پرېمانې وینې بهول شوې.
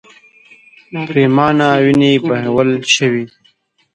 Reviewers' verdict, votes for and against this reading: rejected, 0, 2